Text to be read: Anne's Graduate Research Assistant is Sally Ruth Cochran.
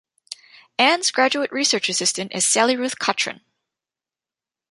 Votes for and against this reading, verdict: 0, 2, rejected